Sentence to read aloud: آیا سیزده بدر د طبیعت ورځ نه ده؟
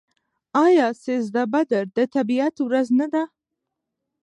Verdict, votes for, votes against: accepted, 2, 0